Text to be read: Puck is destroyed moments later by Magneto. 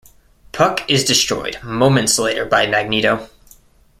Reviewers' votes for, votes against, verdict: 2, 0, accepted